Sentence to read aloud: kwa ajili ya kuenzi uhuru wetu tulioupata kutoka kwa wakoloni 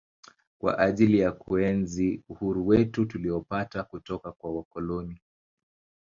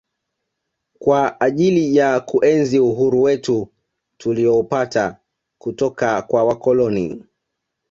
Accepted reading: first